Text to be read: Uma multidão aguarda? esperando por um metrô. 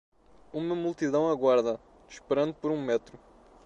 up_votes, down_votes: 1, 2